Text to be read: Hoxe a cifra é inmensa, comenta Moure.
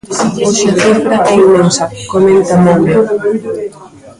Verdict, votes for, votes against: rejected, 0, 2